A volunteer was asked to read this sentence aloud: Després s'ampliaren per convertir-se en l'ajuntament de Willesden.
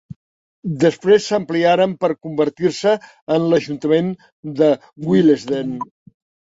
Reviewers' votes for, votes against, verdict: 3, 0, accepted